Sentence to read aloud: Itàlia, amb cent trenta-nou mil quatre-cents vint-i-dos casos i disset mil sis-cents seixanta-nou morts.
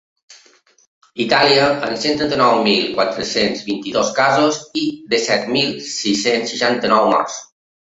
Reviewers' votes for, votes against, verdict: 2, 0, accepted